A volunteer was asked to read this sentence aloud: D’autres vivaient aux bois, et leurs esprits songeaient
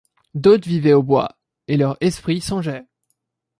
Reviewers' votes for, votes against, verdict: 0, 2, rejected